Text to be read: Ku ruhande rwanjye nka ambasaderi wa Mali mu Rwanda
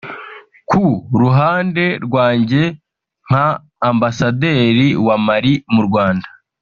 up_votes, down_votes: 4, 0